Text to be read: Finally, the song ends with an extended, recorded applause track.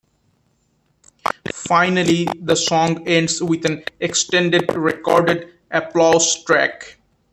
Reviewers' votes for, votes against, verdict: 2, 1, accepted